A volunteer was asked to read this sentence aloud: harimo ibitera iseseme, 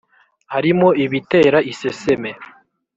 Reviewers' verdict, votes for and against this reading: accepted, 3, 0